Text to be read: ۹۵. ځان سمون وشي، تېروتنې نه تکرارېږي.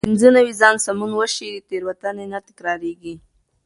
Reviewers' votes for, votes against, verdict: 0, 2, rejected